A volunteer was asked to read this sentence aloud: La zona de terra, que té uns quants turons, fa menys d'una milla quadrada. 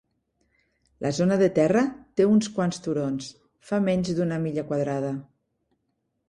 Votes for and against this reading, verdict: 0, 2, rejected